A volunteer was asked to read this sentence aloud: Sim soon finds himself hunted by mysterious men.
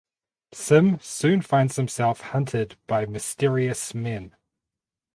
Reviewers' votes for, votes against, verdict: 2, 2, rejected